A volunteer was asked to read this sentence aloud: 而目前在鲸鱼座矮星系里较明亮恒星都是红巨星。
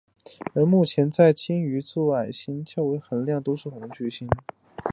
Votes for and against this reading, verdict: 0, 2, rejected